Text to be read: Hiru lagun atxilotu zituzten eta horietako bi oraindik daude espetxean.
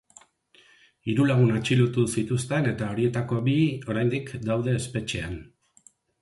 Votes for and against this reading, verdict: 9, 0, accepted